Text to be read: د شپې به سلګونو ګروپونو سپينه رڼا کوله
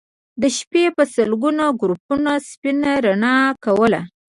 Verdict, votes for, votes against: accepted, 2, 1